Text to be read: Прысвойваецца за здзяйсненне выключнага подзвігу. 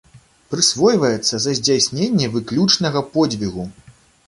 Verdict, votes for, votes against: accepted, 2, 0